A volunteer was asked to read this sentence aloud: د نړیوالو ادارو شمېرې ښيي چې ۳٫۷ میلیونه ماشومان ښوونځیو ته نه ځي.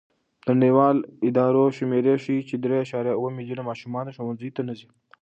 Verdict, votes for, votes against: rejected, 0, 2